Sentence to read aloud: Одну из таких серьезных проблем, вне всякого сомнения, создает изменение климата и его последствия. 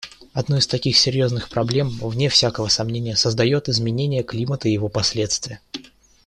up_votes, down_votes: 2, 0